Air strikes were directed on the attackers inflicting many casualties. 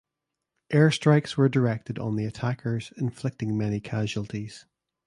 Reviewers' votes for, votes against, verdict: 2, 0, accepted